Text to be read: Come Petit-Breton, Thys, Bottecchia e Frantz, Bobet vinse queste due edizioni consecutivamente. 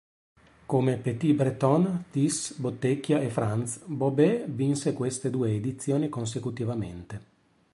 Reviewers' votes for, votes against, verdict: 2, 0, accepted